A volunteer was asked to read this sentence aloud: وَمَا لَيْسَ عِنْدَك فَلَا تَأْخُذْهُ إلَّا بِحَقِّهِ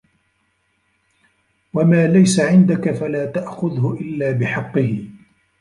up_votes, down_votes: 0, 2